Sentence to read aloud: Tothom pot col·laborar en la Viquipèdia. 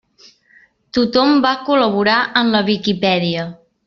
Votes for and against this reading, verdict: 0, 2, rejected